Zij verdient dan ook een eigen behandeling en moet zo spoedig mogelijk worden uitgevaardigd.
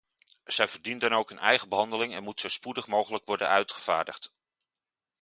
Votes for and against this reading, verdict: 2, 0, accepted